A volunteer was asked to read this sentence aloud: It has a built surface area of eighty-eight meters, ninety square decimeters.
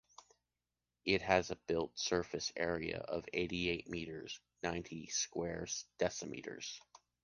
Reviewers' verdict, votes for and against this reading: rejected, 0, 2